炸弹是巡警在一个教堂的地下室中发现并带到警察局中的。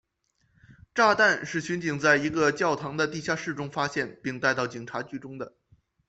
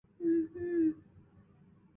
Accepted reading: first